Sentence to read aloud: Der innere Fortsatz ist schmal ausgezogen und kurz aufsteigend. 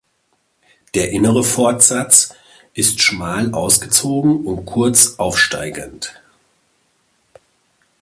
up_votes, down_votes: 2, 1